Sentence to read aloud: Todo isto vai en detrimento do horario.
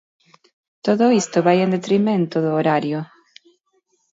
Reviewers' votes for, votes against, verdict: 2, 0, accepted